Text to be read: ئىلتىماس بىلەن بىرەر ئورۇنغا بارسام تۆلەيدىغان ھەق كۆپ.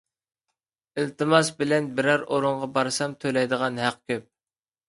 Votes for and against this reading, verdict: 2, 0, accepted